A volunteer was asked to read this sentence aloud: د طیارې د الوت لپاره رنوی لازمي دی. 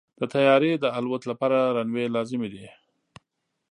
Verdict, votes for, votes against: accepted, 2, 0